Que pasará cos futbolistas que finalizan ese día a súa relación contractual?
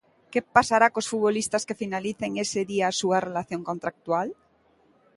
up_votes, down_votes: 0, 2